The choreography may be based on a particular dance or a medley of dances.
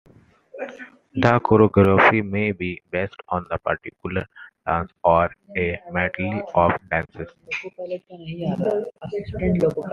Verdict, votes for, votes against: accepted, 2, 0